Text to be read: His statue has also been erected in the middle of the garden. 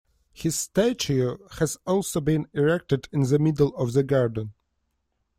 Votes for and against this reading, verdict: 1, 2, rejected